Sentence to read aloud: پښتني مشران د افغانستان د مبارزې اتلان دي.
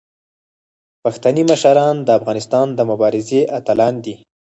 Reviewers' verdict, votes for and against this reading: rejected, 2, 4